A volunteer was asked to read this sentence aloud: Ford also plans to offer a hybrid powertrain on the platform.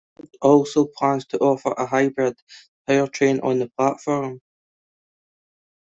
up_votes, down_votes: 0, 2